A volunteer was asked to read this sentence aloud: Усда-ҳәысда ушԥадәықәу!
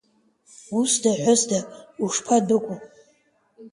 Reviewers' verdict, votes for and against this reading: accepted, 2, 0